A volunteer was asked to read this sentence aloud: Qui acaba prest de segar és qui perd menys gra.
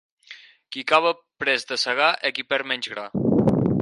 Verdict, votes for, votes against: rejected, 0, 4